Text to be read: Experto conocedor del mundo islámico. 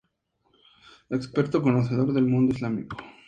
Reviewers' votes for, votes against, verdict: 2, 0, accepted